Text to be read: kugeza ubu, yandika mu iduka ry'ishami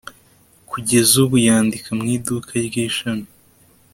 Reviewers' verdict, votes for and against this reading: accepted, 2, 0